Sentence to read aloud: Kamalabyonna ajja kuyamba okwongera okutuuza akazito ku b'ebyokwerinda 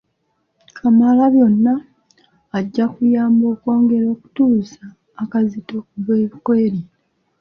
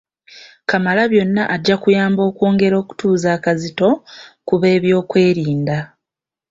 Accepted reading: second